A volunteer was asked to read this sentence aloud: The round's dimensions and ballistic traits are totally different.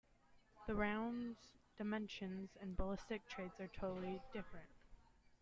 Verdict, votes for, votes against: accepted, 2, 0